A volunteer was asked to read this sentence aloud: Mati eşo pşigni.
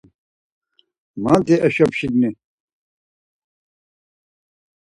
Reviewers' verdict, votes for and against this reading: accepted, 4, 0